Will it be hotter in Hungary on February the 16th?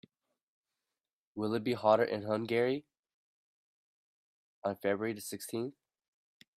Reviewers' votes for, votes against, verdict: 0, 2, rejected